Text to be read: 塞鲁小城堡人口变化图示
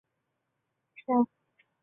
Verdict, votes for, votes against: rejected, 0, 5